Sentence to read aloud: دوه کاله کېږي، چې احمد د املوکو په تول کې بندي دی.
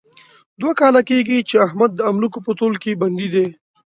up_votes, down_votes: 2, 0